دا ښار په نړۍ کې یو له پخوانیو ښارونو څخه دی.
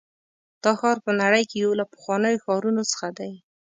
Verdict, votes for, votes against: accepted, 3, 0